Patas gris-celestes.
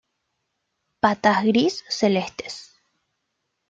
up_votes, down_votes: 2, 0